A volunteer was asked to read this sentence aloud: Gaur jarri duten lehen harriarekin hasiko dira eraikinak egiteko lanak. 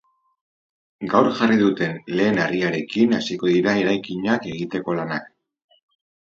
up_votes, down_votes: 4, 0